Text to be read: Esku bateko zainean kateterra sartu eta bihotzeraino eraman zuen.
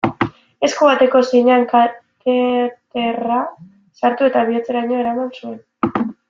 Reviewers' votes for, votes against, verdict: 1, 2, rejected